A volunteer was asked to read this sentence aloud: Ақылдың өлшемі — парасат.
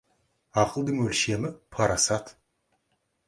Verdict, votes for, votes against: accepted, 2, 1